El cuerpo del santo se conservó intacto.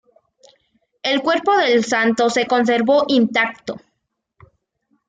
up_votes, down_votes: 2, 0